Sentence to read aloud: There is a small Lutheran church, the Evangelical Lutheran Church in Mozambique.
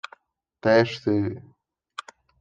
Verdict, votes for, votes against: rejected, 0, 2